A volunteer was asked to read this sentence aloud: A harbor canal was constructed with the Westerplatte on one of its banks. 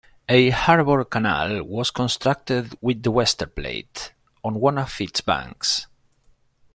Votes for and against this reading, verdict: 0, 2, rejected